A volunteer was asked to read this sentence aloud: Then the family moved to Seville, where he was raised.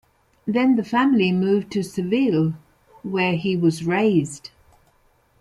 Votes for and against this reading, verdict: 2, 0, accepted